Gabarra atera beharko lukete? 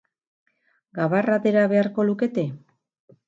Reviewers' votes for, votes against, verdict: 2, 0, accepted